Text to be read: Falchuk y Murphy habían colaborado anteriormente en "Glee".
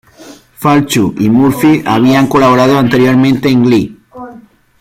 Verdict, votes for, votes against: accepted, 2, 1